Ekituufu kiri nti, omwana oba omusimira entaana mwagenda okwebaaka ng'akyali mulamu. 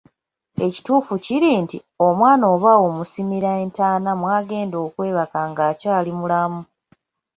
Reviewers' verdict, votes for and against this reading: rejected, 0, 2